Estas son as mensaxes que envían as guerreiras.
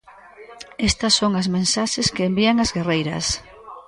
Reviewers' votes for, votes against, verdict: 1, 2, rejected